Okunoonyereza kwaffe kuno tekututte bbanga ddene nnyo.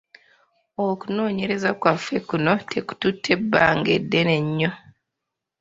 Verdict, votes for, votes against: rejected, 0, 2